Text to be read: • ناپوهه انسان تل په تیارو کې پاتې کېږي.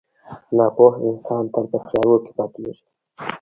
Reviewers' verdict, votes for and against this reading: rejected, 0, 2